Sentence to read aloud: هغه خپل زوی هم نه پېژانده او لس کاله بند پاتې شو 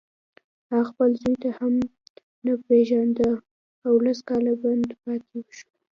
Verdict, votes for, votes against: rejected, 1, 2